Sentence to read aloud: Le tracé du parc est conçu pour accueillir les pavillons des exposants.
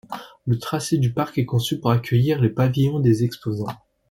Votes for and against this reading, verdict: 2, 0, accepted